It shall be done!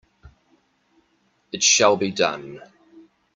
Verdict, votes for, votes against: accepted, 2, 0